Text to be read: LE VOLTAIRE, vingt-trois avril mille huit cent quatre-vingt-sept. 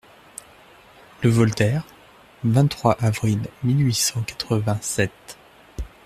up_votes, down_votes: 2, 0